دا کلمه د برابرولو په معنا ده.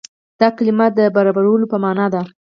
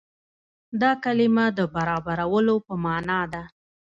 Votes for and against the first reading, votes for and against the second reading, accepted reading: 4, 0, 0, 2, first